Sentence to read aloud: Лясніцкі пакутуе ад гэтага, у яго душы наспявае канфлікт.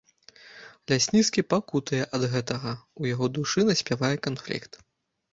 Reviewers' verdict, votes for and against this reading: rejected, 0, 2